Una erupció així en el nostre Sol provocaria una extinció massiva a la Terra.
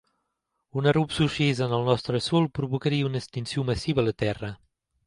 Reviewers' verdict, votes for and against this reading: rejected, 2, 3